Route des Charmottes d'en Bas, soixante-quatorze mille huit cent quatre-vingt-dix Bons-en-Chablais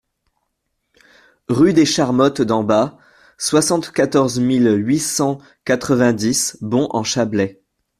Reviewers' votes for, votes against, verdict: 1, 2, rejected